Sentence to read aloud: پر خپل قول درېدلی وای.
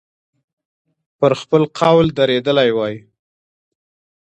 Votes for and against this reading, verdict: 2, 0, accepted